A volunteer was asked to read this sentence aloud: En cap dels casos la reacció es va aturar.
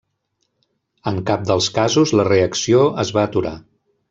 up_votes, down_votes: 0, 2